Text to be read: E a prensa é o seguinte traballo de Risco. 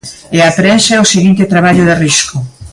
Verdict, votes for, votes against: accepted, 2, 0